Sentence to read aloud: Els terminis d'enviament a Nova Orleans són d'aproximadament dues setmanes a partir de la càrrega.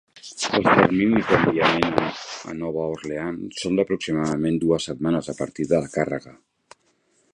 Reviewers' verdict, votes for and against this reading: rejected, 2, 3